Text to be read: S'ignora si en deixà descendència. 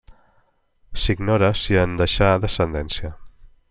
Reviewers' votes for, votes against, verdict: 3, 0, accepted